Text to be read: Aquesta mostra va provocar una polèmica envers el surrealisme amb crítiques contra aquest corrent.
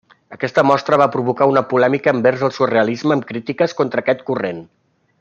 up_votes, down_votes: 3, 0